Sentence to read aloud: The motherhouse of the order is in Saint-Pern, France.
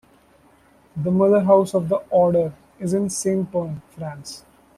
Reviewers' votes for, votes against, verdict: 2, 0, accepted